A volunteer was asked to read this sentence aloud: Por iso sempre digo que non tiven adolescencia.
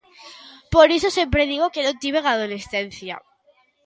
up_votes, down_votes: 3, 0